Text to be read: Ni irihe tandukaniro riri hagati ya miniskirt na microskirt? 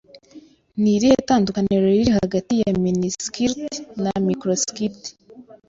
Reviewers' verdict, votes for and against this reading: accepted, 2, 0